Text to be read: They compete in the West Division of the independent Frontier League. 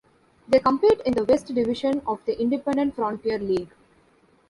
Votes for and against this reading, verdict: 0, 2, rejected